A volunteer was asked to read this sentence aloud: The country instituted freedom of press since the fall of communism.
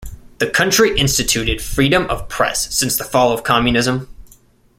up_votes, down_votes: 2, 0